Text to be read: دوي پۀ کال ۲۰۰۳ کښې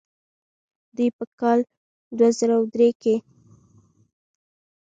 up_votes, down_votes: 0, 2